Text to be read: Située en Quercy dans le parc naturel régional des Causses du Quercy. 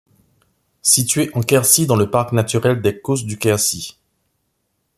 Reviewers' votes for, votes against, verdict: 1, 2, rejected